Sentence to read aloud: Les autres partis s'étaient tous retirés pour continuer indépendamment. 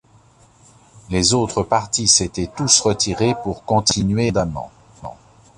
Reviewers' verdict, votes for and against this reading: rejected, 0, 2